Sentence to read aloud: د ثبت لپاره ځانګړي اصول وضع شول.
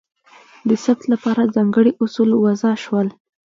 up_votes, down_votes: 2, 1